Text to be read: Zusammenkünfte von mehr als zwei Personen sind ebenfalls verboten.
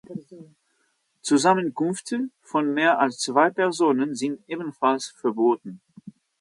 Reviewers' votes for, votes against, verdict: 0, 2, rejected